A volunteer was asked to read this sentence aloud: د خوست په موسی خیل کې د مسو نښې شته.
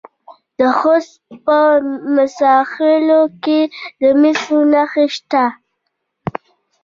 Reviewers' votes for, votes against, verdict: 1, 2, rejected